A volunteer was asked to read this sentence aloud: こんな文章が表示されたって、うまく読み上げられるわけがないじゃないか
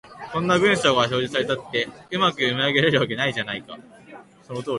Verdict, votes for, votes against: rejected, 0, 2